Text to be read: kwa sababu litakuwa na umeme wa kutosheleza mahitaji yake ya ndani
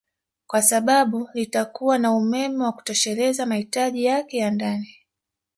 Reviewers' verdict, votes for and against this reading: accepted, 2, 0